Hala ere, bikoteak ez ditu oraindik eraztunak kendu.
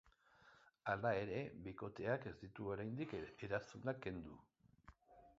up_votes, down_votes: 0, 2